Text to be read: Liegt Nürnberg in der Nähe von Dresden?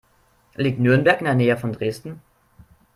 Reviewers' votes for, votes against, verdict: 2, 0, accepted